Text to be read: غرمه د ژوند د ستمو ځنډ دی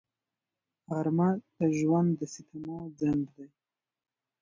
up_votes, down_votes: 2, 1